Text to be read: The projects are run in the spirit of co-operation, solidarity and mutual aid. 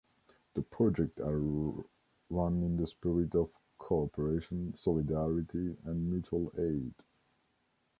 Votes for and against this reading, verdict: 1, 2, rejected